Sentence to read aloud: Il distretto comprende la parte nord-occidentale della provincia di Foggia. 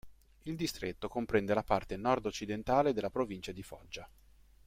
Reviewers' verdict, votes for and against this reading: accepted, 2, 0